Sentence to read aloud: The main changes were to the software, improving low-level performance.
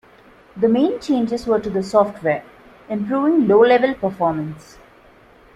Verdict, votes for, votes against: accepted, 2, 0